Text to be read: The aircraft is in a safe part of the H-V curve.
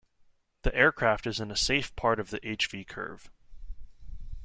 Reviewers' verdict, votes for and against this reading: accepted, 2, 0